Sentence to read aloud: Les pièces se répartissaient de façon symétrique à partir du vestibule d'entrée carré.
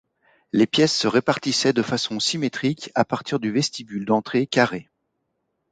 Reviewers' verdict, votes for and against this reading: accepted, 2, 0